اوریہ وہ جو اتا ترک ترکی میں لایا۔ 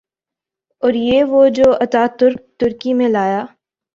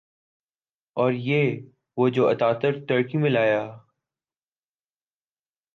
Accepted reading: first